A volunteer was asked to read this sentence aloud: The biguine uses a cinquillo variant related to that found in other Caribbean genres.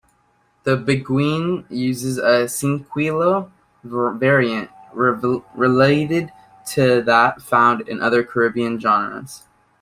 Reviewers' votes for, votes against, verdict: 1, 2, rejected